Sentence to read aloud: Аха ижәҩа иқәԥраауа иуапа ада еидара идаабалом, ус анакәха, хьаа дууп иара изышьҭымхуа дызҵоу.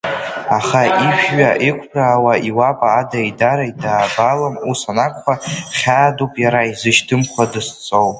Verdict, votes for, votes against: rejected, 2, 3